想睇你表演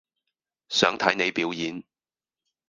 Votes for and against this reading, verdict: 2, 2, rejected